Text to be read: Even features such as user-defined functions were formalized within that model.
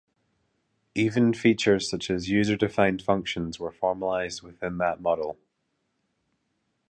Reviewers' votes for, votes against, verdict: 2, 0, accepted